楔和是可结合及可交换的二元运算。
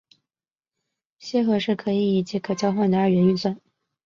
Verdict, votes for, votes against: accepted, 2, 0